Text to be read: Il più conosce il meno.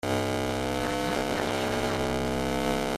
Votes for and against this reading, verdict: 0, 2, rejected